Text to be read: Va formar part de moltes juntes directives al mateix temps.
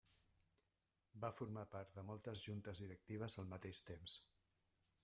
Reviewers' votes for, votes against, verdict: 1, 2, rejected